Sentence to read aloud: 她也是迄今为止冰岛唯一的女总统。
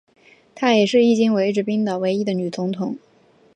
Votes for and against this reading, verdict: 2, 0, accepted